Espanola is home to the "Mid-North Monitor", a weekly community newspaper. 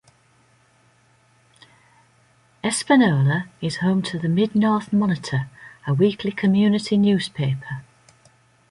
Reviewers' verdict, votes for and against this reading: accepted, 2, 0